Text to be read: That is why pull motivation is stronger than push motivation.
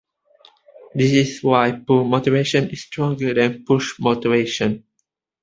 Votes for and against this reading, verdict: 2, 1, accepted